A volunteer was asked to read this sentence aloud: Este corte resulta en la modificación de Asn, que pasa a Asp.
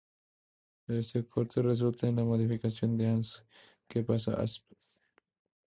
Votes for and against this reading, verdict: 2, 0, accepted